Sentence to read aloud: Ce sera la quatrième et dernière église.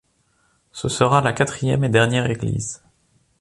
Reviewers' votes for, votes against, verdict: 2, 0, accepted